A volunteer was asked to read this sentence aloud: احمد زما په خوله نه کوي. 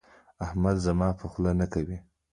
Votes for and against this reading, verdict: 2, 0, accepted